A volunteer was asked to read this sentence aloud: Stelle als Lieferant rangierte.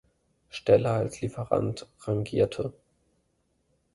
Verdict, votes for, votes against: rejected, 0, 2